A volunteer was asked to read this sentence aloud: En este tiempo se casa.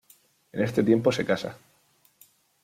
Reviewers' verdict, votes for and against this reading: accepted, 2, 0